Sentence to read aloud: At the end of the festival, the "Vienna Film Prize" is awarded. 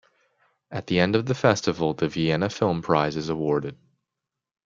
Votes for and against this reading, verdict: 2, 0, accepted